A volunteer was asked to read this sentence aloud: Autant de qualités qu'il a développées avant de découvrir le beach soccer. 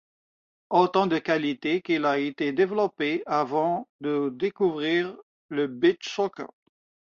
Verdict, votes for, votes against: rejected, 0, 2